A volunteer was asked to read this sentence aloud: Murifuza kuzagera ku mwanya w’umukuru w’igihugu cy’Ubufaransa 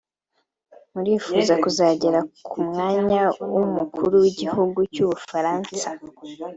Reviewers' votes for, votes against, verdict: 2, 0, accepted